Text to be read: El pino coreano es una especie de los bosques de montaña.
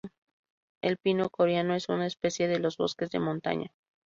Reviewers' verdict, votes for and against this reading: rejected, 0, 2